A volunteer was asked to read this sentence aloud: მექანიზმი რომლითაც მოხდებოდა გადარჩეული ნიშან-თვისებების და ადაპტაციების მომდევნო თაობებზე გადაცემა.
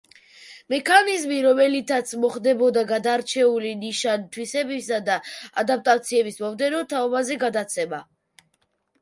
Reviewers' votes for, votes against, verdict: 0, 2, rejected